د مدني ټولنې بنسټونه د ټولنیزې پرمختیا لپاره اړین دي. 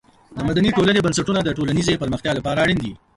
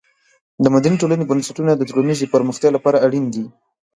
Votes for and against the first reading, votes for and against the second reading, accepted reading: 1, 3, 2, 0, second